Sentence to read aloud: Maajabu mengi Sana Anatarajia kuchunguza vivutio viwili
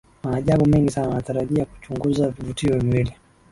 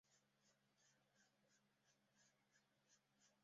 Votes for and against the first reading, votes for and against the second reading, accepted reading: 5, 0, 1, 2, first